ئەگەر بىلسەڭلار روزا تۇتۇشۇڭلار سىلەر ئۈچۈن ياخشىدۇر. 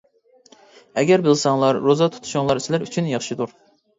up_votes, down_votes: 3, 0